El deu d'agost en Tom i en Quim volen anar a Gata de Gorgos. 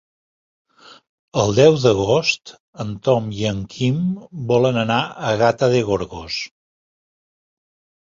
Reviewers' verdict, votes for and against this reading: accepted, 3, 0